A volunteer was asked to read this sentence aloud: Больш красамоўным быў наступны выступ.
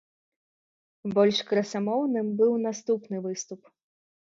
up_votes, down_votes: 2, 0